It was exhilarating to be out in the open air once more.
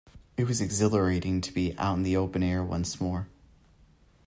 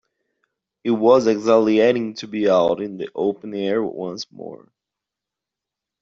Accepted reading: first